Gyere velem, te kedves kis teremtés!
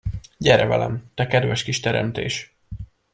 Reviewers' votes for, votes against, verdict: 2, 0, accepted